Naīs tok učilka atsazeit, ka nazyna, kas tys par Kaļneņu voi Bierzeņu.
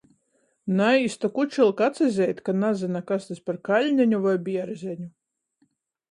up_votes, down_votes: 14, 0